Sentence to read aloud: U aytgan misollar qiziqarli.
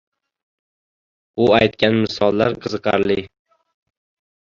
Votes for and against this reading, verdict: 1, 2, rejected